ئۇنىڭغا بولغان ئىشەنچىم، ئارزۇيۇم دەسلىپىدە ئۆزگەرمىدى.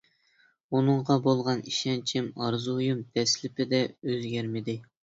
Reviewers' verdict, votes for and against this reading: accepted, 2, 0